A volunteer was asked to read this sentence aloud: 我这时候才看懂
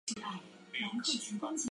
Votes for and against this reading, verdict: 0, 2, rejected